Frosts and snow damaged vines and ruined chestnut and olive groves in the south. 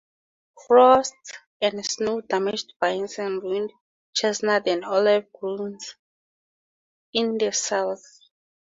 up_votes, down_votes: 0, 2